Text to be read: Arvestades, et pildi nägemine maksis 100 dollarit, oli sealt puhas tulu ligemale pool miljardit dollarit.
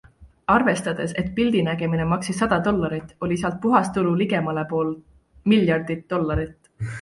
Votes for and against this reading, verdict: 0, 2, rejected